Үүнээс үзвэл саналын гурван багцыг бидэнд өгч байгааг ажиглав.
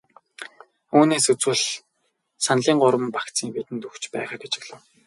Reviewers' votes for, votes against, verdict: 0, 4, rejected